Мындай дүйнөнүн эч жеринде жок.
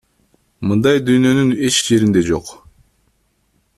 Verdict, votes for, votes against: accepted, 2, 0